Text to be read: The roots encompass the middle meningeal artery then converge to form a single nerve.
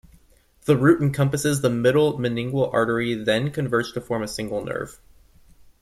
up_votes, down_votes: 0, 2